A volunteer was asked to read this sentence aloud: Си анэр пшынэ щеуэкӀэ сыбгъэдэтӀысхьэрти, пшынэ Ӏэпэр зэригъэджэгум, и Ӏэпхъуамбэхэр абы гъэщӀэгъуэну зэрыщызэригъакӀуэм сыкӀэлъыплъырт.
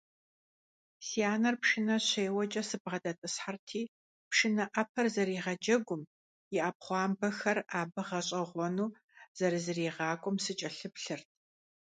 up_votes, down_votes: 1, 2